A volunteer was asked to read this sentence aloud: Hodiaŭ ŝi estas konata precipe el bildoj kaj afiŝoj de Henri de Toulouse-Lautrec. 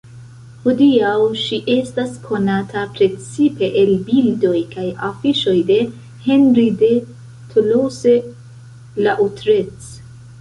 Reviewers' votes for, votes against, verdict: 0, 2, rejected